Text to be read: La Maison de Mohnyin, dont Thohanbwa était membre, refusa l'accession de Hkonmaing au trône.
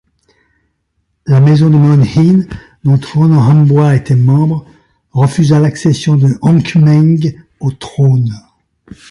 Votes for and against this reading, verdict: 1, 2, rejected